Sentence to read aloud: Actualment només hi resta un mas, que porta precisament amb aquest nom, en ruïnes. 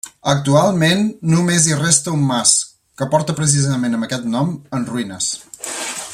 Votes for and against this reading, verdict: 2, 1, accepted